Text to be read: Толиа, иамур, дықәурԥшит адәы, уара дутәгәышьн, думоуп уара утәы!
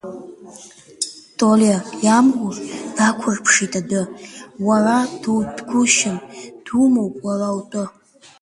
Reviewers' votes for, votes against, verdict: 2, 0, accepted